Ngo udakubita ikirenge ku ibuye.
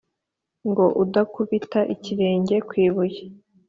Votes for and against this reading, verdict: 2, 0, accepted